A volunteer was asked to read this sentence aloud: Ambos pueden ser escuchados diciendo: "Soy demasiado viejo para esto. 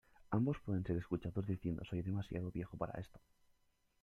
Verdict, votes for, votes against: accepted, 2, 0